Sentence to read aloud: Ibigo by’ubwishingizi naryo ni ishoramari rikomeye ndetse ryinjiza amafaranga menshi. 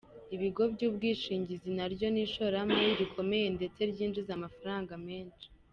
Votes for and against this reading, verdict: 2, 0, accepted